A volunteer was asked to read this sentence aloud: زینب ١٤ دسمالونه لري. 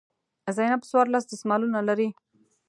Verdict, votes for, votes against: rejected, 0, 2